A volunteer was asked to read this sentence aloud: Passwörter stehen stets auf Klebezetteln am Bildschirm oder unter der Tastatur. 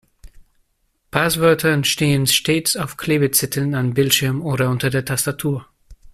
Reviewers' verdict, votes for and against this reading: rejected, 1, 2